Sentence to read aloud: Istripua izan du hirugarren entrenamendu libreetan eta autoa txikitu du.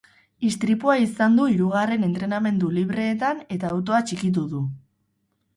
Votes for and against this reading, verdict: 0, 2, rejected